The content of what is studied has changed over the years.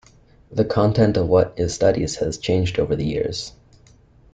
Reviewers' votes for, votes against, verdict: 0, 2, rejected